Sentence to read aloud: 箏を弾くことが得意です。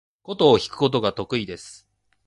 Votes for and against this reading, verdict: 3, 0, accepted